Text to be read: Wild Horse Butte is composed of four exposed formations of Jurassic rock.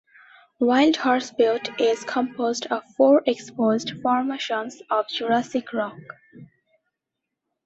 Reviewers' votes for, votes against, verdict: 2, 0, accepted